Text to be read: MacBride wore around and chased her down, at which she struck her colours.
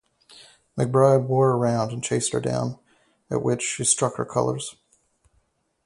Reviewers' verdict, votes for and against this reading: rejected, 2, 2